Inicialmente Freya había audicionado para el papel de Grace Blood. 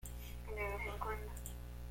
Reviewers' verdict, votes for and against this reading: rejected, 0, 2